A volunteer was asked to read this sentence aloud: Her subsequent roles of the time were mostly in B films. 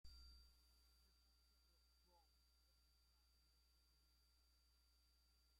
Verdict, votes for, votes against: rejected, 0, 2